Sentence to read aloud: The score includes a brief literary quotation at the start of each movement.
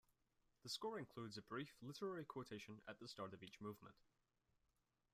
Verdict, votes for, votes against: rejected, 0, 2